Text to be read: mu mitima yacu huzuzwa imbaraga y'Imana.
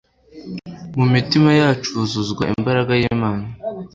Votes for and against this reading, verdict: 2, 0, accepted